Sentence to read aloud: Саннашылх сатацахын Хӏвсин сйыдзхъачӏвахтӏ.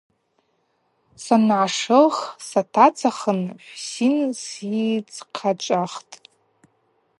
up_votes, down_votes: 2, 0